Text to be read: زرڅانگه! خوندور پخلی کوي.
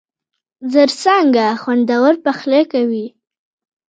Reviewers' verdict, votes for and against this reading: accepted, 2, 1